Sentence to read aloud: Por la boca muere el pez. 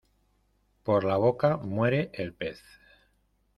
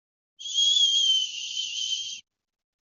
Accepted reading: first